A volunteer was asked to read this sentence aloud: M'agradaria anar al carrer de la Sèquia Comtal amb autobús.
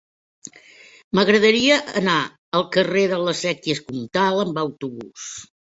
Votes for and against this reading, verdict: 1, 2, rejected